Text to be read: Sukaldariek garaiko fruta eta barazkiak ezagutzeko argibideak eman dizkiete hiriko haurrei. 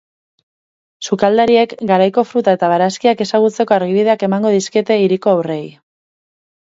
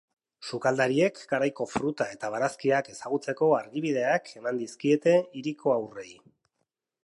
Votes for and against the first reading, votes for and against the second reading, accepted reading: 2, 2, 2, 0, second